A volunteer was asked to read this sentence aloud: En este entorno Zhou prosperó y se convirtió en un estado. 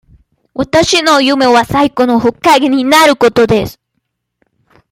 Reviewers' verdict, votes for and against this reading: rejected, 0, 2